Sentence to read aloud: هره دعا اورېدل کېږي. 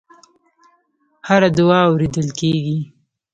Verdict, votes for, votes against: accepted, 2, 0